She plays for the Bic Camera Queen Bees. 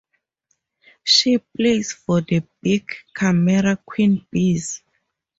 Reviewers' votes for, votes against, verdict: 0, 2, rejected